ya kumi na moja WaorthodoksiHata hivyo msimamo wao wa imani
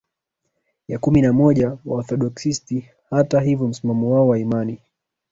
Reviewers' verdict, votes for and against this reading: accepted, 3, 2